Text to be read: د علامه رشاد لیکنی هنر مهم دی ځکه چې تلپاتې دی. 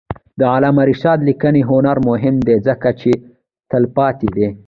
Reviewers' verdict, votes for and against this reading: accepted, 2, 0